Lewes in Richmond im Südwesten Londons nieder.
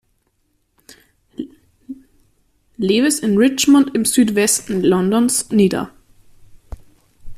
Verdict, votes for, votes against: rejected, 0, 2